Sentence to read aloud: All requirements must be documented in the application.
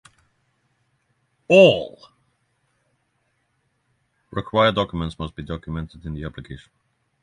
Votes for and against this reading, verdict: 0, 3, rejected